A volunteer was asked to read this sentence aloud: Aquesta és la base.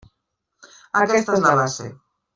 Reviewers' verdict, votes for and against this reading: rejected, 0, 2